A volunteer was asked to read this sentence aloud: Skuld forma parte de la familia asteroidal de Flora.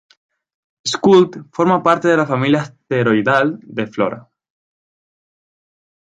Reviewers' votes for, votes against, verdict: 4, 0, accepted